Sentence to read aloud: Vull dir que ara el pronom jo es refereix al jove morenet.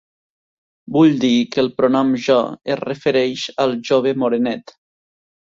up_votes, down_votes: 1, 2